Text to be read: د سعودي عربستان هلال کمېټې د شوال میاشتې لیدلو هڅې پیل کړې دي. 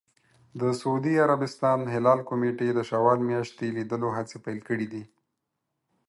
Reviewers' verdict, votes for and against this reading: accepted, 4, 0